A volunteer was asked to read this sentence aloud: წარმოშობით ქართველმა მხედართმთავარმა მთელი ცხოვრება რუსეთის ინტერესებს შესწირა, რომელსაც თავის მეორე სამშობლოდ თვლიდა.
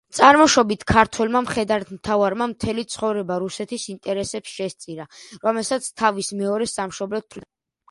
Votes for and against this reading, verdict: 1, 2, rejected